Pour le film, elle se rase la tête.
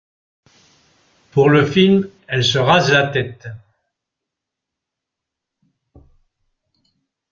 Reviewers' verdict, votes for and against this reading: accepted, 2, 0